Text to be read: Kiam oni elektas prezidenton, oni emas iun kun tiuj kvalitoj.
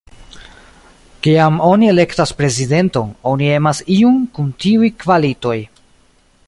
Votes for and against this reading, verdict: 2, 0, accepted